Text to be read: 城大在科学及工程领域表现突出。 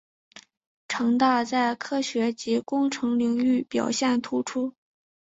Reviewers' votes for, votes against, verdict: 2, 0, accepted